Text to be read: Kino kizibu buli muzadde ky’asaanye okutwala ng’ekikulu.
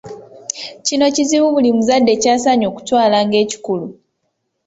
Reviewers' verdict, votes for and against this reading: accepted, 2, 0